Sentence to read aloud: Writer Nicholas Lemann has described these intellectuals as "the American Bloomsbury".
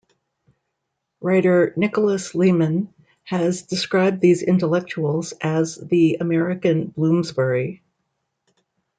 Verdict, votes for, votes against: accepted, 2, 1